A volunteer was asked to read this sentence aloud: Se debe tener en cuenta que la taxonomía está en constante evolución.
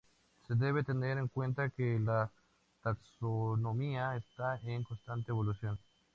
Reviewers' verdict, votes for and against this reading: accepted, 2, 0